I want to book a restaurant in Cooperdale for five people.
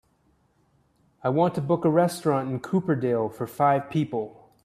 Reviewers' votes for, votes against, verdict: 3, 0, accepted